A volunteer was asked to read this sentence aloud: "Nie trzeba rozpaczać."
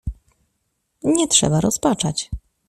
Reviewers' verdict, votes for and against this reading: accepted, 2, 0